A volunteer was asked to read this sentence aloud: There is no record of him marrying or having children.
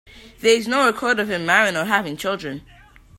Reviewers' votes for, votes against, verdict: 0, 2, rejected